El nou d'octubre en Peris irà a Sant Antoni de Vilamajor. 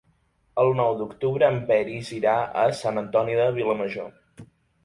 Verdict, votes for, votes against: accepted, 3, 0